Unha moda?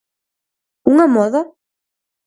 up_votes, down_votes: 4, 0